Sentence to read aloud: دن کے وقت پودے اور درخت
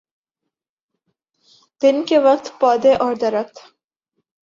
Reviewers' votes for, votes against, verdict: 2, 0, accepted